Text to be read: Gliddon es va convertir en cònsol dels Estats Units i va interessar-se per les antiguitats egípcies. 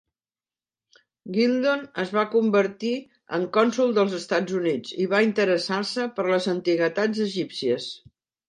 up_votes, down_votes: 1, 2